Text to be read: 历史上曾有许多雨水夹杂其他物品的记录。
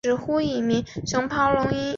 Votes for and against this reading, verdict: 1, 5, rejected